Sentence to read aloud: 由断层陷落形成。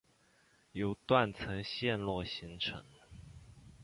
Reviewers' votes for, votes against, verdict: 2, 1, accepted